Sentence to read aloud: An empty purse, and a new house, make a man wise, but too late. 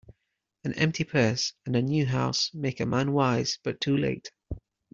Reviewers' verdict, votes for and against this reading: accepted, 2, 0